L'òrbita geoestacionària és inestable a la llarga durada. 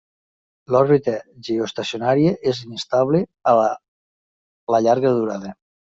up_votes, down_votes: 0, 2